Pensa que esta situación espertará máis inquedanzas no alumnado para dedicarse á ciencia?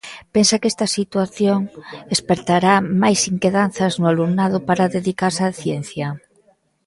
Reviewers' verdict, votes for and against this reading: accepted, 2, 0